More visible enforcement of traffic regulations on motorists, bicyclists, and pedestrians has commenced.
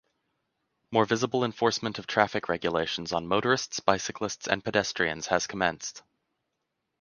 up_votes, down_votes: 2, 0